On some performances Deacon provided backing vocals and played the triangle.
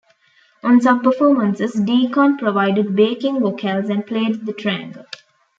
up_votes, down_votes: 1, 2